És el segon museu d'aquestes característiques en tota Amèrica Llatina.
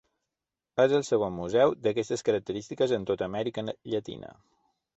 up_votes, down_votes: 2, 1